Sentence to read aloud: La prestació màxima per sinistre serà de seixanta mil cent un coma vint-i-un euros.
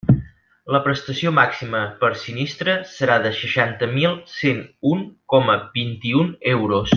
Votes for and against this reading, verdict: 4, 2, accepted